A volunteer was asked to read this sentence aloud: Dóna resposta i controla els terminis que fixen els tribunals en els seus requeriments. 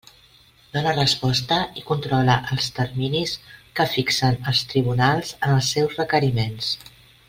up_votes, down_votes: 3, 0